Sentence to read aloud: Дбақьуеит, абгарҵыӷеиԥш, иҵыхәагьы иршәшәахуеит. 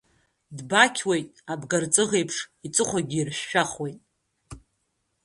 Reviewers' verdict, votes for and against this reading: rejected, 0, 2